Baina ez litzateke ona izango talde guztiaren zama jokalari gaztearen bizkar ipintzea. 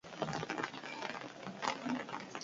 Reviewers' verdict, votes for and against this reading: rejected, 0, 2